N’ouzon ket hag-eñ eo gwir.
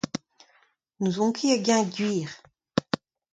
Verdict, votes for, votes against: accepted, 2, 0